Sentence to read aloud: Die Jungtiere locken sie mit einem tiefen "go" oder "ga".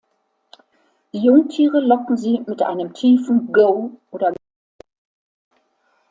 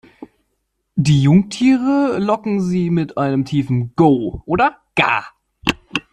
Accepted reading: second